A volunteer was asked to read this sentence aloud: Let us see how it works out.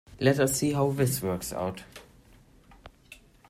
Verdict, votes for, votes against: rejected, 0, 2